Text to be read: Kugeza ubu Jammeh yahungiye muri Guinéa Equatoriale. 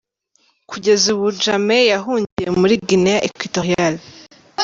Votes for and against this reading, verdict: 0, 2, rejected